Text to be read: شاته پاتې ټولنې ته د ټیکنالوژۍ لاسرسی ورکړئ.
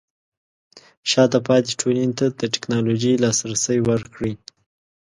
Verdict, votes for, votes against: accepted, 2, 1